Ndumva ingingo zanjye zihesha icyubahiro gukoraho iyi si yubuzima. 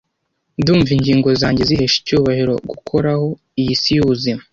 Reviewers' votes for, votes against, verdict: 2, 0, accepted